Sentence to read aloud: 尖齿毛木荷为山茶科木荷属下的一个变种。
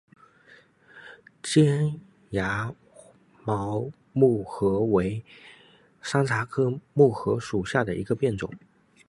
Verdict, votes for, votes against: rejected, 0, 2